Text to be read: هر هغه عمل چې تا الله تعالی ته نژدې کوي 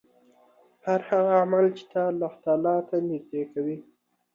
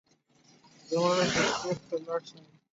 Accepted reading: first